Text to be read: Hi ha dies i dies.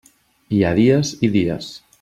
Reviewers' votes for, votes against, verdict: 4, 0, accepted